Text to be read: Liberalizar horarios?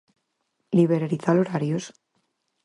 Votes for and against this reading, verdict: 4, 0, accepted